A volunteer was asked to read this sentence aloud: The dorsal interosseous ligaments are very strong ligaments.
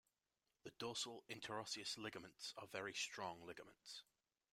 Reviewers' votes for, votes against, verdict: 0, 2, rejected